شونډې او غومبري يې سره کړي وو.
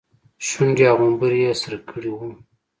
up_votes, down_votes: 2, 3